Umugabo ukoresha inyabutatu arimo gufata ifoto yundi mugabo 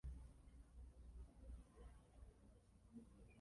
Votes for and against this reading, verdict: 0, 2, rejected